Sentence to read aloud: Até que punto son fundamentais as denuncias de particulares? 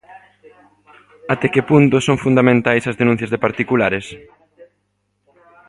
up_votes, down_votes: 2, 1